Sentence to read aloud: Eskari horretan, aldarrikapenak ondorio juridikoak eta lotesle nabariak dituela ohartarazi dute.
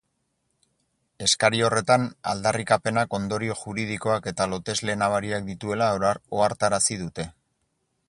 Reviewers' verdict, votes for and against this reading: rejected, 2, 4